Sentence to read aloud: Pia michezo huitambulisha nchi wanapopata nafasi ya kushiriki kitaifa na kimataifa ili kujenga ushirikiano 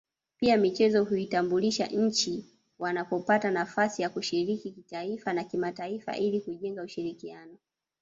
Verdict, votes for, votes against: accepted, 2, 1